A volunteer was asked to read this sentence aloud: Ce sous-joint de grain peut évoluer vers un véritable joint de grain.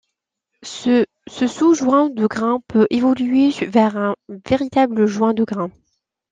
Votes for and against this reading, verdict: 0, 2, rejected